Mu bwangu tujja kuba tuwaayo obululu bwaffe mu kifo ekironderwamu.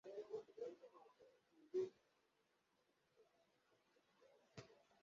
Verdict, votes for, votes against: rejected, 0, 2